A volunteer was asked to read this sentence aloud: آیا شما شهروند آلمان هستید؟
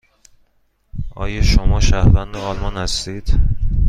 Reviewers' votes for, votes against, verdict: 2, 0, accepted